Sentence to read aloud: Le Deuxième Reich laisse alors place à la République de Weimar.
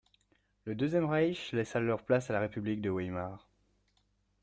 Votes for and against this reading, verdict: 1, 2, rejected